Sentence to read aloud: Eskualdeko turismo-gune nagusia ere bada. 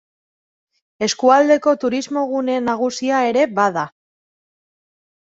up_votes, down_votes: 2, 0